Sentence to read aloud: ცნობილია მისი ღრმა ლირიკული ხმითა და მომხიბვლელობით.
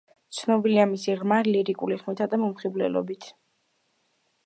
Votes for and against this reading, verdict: 1, 2, rejected